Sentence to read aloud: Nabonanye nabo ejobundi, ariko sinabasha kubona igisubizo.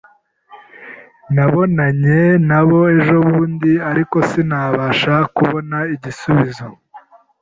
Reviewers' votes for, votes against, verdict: 2, 0, accepted